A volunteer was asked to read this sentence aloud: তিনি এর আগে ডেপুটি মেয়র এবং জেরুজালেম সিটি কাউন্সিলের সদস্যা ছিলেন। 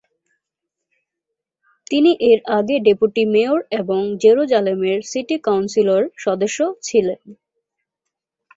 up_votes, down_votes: 2, 4